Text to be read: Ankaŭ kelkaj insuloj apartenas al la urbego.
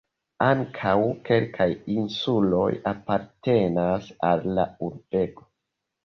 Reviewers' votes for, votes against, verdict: 3, 0, accepted